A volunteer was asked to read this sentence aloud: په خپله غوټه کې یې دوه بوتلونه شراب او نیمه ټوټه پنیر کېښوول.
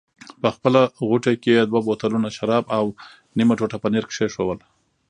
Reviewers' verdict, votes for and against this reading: rejected, 1, 2